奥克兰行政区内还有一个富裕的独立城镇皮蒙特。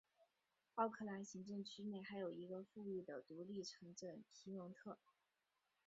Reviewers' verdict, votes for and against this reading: accepted, 3, 1